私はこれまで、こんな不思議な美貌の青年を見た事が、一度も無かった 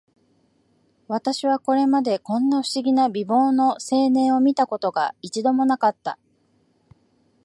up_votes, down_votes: 2, 0